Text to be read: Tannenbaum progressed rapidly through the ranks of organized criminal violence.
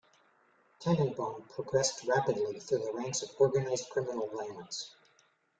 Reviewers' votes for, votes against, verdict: 2, 0, accepted